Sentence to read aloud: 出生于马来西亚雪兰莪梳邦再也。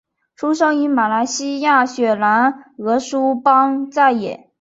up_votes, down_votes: 2, 0